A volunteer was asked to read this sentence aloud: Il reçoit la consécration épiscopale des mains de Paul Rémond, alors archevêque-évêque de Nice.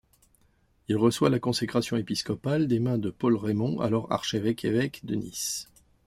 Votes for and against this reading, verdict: 2, 0, accepted